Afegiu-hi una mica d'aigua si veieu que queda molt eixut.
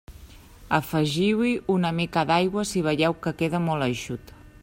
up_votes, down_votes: 3, 0